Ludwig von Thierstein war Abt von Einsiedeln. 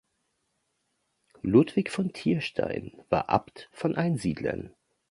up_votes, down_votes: 0, 2